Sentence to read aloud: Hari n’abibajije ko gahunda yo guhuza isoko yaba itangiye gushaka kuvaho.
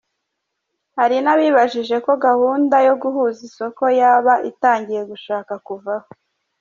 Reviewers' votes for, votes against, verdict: 2, 0, accepted